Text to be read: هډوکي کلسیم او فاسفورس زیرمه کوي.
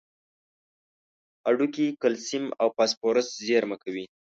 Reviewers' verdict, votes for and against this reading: accepted, 2, 0